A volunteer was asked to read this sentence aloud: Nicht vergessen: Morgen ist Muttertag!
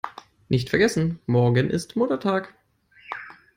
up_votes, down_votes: 2, 0